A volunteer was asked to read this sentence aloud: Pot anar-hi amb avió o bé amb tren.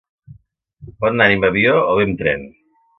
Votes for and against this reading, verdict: 1, 2, rejected